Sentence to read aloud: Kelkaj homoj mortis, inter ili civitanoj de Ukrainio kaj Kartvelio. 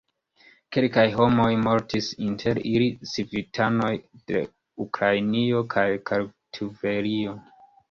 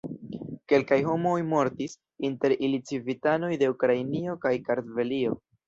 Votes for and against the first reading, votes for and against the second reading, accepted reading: 1, 2, 2, 0, second